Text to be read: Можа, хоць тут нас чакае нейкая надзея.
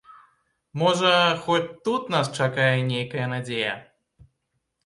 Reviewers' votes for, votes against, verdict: 2, 0, accepted